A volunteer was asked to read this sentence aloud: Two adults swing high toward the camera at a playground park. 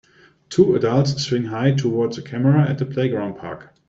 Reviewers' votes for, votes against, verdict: 1, 2, rejected